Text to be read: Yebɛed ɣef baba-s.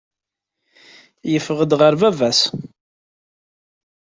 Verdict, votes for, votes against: rejected, 0, 2